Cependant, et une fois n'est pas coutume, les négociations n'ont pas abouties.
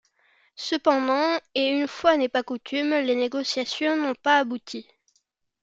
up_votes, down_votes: 2, 0